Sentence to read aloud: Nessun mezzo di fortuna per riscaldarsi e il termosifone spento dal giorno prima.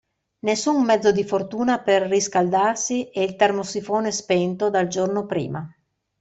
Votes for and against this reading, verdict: 2, 0, accepted